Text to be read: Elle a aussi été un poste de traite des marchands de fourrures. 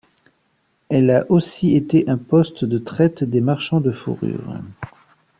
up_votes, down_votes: 2, 0